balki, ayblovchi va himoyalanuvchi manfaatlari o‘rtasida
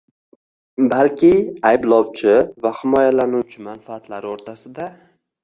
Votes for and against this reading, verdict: 0, 2, rejected